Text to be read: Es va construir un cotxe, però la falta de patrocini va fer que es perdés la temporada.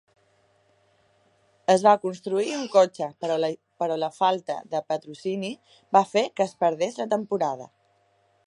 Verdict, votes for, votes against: rejected, 1, 2